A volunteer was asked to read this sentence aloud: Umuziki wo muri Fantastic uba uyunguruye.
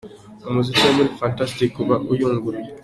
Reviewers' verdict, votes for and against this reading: accepted, 2, 0